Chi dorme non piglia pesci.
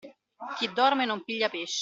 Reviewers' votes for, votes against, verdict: 0, 2, rejected